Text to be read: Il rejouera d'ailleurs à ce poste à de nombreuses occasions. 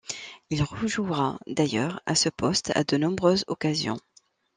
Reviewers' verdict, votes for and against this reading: accepted, 2, 0